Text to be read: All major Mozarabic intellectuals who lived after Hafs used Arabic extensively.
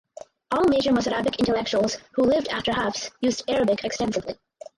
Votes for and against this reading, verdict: 2, 2, rejected